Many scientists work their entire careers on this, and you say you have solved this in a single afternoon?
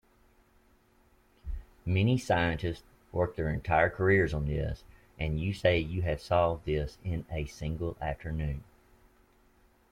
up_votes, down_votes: 0, 2